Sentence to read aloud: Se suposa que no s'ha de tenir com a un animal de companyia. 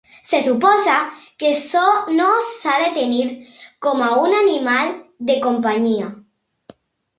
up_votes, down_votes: 0, 2